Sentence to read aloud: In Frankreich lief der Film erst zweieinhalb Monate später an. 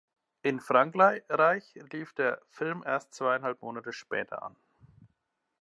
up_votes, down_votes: 0, 2